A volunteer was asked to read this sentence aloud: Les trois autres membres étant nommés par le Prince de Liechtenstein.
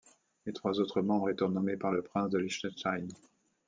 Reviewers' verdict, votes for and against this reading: accepted, 2, 0